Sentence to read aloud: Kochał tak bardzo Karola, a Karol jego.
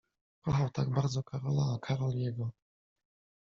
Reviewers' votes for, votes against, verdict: 1, 2, rejected